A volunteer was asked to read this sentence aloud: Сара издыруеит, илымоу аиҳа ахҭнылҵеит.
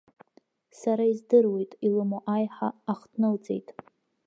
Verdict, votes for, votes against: accepted, 2, 0